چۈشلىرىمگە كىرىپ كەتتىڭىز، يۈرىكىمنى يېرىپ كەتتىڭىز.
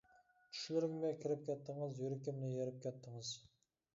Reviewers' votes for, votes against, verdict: 1, 2, rejected